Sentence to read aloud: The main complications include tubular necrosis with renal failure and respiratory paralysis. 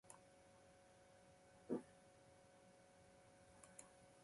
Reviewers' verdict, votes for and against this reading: rejected, 0, 2